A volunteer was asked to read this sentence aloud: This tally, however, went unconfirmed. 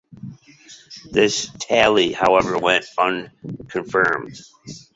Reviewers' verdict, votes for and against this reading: accepted, 2, 0